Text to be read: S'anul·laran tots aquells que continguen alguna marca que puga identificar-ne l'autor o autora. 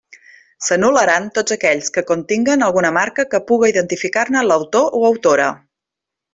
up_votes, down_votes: 3, 0